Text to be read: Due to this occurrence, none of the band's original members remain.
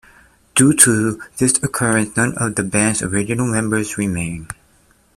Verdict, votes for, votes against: accepted, 2, 0